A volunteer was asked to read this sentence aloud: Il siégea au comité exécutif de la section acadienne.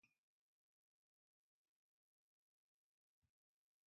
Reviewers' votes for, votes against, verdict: 0, 2, rejected